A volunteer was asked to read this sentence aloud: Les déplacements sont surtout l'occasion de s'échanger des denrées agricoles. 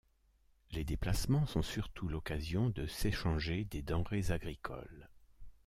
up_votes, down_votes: 0, 2